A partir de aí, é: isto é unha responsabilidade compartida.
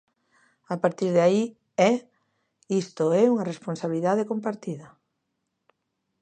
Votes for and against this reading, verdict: 2, 1, accepted